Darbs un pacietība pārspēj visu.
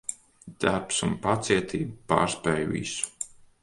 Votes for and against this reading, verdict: 2, 0, accepted